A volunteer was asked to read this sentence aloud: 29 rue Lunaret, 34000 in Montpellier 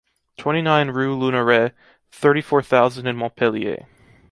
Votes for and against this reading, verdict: 0, 2, rejected